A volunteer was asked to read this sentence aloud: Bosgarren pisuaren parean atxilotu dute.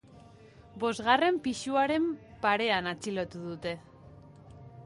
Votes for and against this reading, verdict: 0, 2, rejected